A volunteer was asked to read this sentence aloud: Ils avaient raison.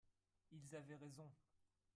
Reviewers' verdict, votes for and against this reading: rejected, 2, 3